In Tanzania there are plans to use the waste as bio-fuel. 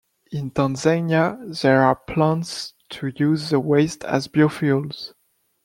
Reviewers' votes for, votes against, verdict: 0, 2, rejected